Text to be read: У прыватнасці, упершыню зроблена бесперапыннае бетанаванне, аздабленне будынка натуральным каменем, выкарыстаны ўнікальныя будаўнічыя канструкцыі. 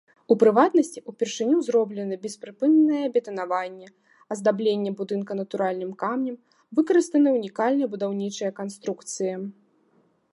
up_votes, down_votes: 0, 2